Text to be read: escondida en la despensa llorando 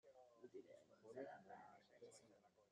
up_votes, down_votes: 0, 2